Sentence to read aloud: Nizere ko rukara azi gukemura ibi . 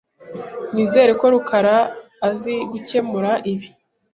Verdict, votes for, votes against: accepted, 2, 0